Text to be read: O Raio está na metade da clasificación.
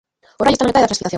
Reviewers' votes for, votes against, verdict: 0, 3, rejected